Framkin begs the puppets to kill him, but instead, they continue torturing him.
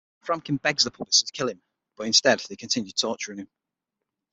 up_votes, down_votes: 6, 0